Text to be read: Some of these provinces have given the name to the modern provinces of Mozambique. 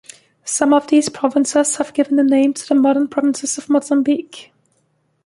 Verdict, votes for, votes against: rejected, 1, 2